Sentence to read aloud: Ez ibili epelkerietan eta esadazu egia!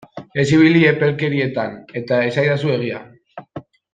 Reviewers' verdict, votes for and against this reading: rejected, 1, 2